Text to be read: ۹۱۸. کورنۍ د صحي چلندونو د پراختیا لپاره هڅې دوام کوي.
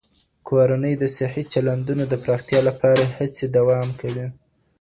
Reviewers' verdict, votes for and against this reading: rejected, 0, 2